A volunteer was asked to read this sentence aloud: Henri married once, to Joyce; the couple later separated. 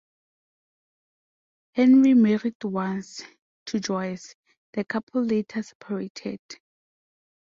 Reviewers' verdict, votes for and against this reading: accepted, 2, 0